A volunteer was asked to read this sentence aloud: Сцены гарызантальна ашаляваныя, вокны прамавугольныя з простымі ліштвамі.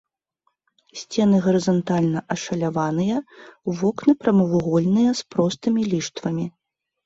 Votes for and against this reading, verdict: 2, 0, accepted